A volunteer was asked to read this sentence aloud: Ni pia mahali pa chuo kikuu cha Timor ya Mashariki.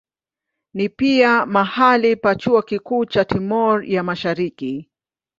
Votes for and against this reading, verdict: 19, 3, accepted